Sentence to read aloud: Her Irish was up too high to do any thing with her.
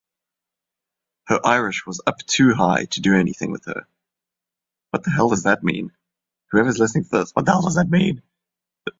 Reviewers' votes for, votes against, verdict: 0, 2, rejected